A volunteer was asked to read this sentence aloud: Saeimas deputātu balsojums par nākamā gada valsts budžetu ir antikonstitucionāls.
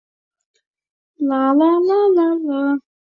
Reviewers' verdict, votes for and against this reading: rejected, 0, 2